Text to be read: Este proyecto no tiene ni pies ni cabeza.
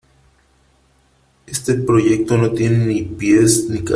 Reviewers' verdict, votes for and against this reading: rejected, 0, 2